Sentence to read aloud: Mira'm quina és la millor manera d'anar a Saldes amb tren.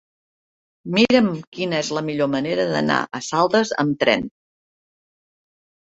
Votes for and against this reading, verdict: 0, 2, rejected